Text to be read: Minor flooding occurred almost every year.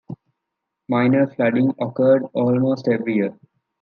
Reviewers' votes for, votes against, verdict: 2, 0, accepted